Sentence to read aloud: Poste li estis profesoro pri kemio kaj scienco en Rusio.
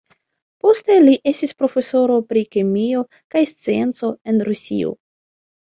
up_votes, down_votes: 2, 0